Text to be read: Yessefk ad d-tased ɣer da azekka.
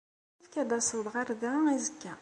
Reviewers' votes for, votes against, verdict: 1, 2, rejected